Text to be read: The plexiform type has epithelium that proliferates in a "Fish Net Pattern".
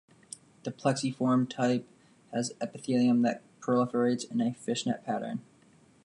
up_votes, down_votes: 2, 0